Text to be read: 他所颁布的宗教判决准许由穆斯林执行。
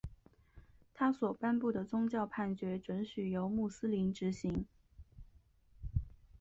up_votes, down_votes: 2, 0